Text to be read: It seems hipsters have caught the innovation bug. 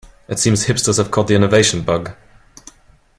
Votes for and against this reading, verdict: 2, 0, accepted